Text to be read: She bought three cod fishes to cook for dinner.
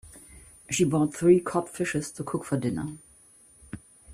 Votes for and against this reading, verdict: 2, 0, accepted